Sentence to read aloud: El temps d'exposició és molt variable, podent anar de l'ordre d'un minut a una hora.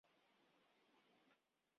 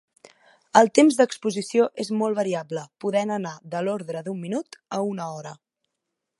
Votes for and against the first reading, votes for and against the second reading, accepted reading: 0, 2, 2, 0, second